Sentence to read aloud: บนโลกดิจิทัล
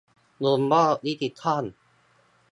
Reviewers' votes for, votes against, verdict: 1, 2, rejected